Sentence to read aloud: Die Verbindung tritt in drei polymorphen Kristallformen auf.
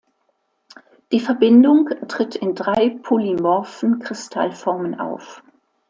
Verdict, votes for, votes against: accepted, 2, 0